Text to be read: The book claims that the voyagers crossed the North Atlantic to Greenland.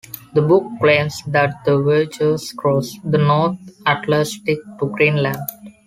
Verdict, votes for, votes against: rejected, 0, 2